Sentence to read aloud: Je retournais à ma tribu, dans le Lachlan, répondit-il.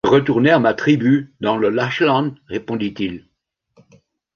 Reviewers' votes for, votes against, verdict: 0, 2, rejected